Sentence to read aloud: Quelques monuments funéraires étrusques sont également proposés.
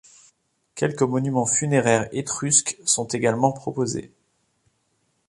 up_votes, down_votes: 2, 0